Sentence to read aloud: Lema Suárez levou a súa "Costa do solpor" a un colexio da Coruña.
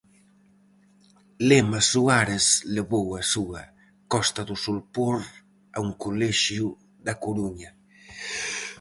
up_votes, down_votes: 4, 0